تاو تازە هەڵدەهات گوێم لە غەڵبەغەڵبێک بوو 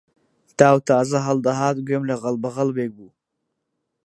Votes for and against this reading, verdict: 2, 2, rejected